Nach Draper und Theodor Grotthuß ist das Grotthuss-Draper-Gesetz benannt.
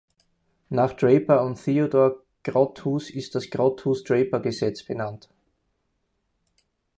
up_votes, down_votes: 4, 0